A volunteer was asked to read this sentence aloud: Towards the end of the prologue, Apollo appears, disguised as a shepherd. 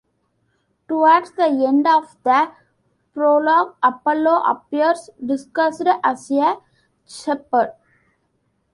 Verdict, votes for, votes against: accepted, 2, 1